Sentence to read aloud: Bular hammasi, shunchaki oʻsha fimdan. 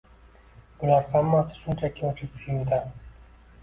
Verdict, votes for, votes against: rejected, 0, 2